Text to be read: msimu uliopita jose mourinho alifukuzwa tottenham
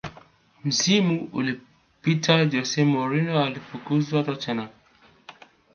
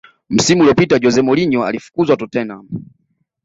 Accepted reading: second